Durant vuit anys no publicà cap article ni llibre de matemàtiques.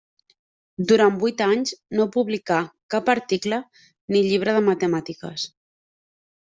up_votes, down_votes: 3, 1